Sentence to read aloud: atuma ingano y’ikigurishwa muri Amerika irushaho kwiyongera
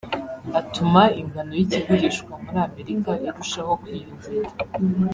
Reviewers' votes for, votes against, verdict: 0, 2, rejected